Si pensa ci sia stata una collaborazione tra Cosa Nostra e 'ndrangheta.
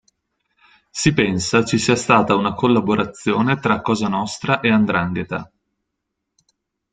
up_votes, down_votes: 2, 0